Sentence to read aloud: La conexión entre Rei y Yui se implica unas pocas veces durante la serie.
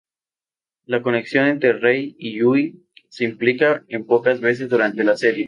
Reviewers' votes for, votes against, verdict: 2, 0, accepted